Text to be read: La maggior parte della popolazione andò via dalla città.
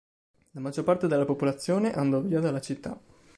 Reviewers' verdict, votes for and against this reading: accepted, 2, 0